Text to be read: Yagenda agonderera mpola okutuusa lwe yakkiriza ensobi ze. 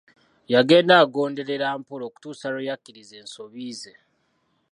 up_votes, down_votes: 2, 0